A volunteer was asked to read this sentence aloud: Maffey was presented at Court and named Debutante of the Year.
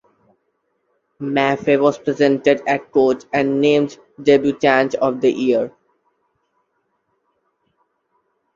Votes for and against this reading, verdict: 2, 0, accepted